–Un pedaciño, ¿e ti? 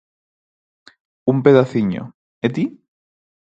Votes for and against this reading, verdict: 4, 0, accepted